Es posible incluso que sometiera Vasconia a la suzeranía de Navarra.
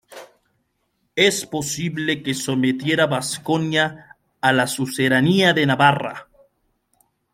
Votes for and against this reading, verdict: 1, 2, rejected